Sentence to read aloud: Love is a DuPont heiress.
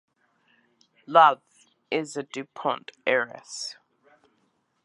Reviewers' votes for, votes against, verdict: 2, 0, accepted